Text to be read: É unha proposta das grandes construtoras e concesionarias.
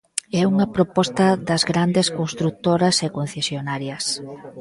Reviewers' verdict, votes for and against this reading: rejected, 1, 2